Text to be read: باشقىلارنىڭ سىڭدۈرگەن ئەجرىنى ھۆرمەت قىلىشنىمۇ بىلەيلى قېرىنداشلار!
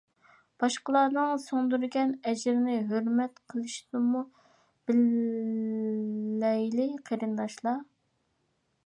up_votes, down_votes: 2, 1